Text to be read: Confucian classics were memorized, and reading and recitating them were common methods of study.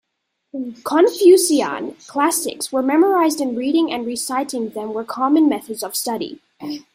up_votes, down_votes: 1, 2